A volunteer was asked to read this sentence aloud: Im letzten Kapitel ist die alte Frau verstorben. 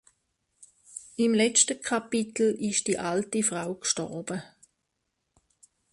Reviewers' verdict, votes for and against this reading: rejected, 0, 2